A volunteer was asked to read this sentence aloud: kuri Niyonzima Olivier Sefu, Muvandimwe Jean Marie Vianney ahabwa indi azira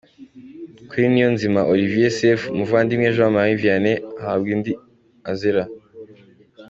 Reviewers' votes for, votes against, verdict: 2, 1, accepted